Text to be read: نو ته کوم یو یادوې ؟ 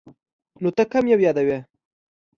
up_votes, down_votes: 2, 0